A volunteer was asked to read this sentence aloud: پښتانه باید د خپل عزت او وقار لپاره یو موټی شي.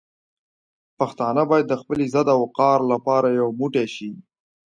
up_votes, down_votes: 2, 0